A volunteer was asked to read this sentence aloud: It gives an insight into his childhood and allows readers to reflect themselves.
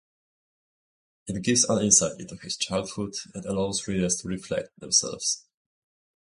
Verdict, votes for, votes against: accepted, 2, 0